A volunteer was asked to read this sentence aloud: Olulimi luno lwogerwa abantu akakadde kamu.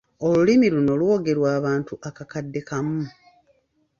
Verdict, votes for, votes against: accepted, 2, 1